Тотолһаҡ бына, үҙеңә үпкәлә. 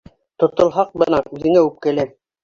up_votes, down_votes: 1, 2